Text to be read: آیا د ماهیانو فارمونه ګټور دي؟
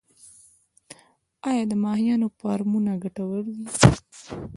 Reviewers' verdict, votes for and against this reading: accepted, 2, 0